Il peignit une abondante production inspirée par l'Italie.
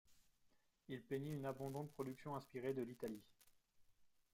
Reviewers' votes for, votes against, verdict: 1, 2, rejected